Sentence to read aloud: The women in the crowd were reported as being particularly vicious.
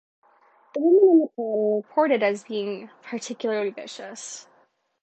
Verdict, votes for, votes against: accepted, 2, 0